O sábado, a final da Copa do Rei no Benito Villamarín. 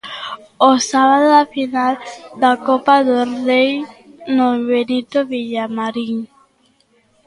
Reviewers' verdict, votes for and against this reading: rejected, 1, 2